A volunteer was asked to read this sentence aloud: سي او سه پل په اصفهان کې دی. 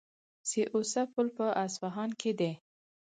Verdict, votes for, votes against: accepted, 4, 0